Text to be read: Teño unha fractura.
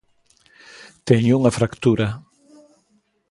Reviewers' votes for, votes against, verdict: 2, 0, accepted